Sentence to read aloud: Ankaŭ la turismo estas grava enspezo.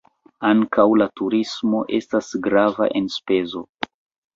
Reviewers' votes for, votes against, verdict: 0, 2, rejected